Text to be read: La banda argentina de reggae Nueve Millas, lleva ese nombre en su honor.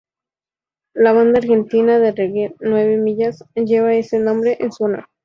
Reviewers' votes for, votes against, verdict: 2, 0, accepted